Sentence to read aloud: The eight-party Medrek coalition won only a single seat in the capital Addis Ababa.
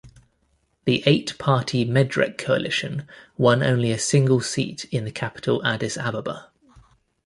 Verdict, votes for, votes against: accepted, 2, 0